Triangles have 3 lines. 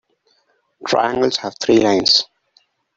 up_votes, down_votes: 0, 2